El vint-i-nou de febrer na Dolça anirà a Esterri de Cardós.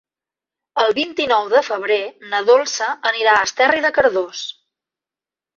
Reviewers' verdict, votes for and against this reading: accepted, 3, 0